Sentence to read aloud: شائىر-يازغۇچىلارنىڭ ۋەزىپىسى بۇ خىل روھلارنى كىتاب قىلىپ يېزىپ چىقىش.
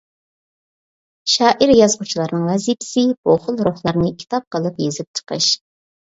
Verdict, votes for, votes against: accepted, 2, 0